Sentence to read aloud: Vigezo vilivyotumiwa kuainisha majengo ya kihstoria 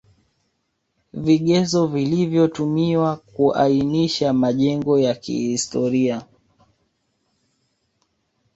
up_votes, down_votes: 2, 1